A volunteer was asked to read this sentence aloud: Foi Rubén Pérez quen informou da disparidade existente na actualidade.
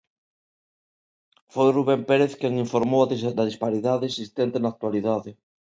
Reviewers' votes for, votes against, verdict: 0, 2, rejected